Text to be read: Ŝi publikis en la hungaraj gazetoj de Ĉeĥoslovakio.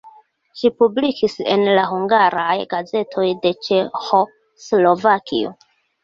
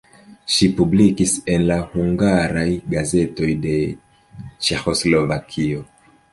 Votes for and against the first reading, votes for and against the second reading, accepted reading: 1, 2, 2, 0, second